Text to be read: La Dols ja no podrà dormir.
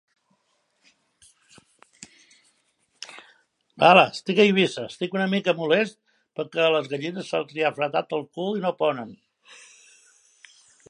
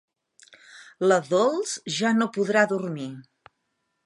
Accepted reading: second